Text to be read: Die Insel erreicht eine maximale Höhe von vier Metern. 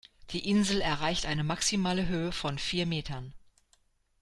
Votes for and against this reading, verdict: 2, 0, accepted